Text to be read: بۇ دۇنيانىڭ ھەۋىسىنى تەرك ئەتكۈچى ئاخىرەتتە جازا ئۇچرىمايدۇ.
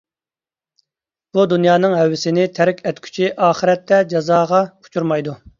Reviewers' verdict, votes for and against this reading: rejected, 0, 2